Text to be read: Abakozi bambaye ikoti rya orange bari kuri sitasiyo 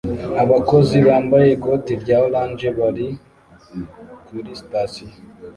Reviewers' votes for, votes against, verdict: 2, 0, accepted